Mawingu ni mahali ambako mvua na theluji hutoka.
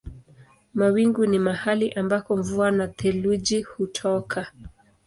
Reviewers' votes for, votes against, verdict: 2, 0, accepted